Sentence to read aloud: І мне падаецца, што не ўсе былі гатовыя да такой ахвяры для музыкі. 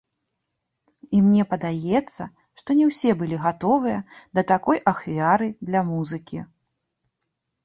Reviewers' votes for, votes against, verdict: 2, 0, accepted